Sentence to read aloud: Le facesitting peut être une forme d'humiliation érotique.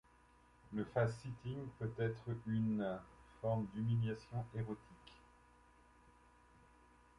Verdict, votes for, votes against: accepted, 2, 1